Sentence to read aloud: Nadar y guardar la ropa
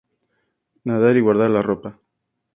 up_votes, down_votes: 2, 0